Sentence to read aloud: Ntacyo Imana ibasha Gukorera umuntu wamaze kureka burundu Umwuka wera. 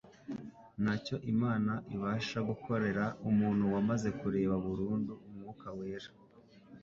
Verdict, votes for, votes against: accepted, 2, 0